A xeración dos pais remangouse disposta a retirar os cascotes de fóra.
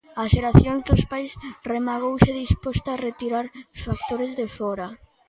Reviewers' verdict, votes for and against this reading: rejected, 0, 2